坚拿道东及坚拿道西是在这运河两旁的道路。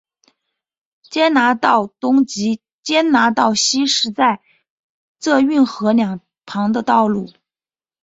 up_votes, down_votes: 4, 2